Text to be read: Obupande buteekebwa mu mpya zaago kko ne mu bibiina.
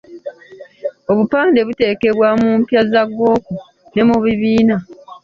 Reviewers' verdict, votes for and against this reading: rejected, 0, 2